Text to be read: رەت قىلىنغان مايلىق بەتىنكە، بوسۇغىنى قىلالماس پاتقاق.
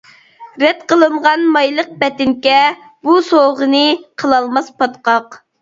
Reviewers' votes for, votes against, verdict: 0, 2, rejected